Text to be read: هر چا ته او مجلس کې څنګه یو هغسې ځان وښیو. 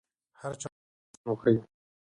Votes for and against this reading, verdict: 0, 2, rejected